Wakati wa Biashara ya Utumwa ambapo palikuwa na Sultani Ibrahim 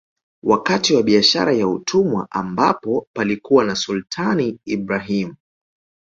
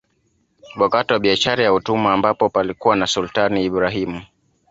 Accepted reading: first